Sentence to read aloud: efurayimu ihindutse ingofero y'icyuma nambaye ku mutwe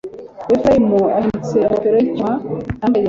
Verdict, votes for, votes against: rejected, 1, 2